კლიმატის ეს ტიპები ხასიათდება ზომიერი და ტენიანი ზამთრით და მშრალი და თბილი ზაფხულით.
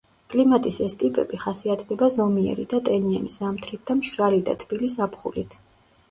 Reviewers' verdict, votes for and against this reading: accepted, 2, 0